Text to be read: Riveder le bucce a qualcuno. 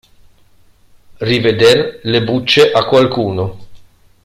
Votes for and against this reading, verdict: 2, 0, accepted